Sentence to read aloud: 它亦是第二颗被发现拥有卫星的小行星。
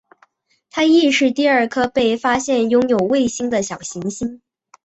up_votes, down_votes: 2, 0